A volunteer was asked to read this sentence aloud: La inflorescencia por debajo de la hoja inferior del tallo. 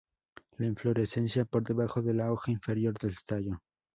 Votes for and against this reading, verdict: 2, 2, rejected